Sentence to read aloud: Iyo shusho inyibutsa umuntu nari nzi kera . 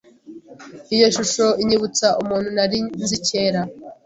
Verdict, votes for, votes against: accepted, 3, 0